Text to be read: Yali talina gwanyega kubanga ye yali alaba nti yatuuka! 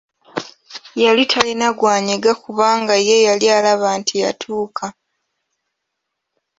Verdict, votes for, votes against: accepted, 2, 0